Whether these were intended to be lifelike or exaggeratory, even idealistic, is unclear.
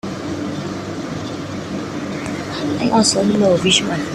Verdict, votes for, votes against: rejected, 1, 2